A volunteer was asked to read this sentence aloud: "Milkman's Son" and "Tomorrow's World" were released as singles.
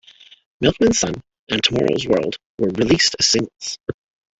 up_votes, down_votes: 0, 2